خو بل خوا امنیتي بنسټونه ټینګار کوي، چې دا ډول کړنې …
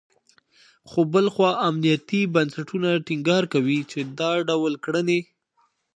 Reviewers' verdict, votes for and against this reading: accepted, 2, 0